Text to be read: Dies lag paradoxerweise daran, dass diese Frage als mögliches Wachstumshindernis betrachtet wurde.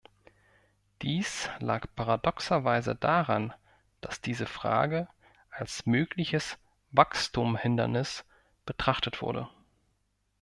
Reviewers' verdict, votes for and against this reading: rejected, 0, 2